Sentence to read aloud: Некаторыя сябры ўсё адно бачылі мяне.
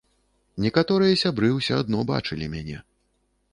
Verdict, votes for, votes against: accepted, 2, 0